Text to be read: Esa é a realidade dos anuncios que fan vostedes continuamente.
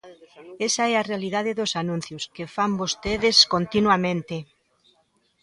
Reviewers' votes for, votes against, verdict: 0, 2, rejected